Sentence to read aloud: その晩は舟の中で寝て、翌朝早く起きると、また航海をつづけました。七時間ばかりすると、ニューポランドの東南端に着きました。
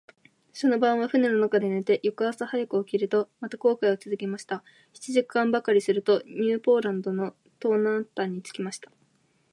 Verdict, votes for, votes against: accepted, 3, 0